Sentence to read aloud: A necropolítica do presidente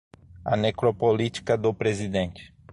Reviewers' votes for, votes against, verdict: 6, 0, accepted